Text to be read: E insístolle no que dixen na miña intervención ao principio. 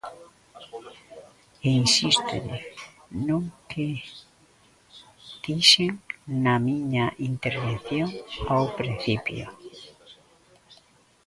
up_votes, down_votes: 0, 2